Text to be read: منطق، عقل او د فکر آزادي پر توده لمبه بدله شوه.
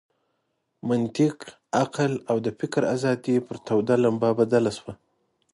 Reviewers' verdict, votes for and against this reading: accepted, 2, 0